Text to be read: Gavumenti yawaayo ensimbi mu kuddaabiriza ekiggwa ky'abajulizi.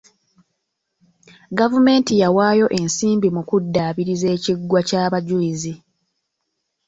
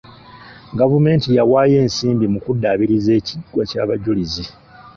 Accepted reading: first